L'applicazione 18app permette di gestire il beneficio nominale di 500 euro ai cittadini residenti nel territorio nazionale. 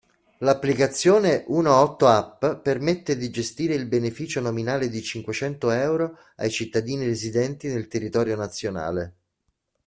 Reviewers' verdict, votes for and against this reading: rejected, 0, 2